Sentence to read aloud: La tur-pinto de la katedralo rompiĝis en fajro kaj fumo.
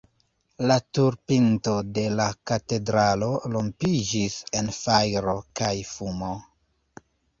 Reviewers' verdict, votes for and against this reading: accepted, 3, 1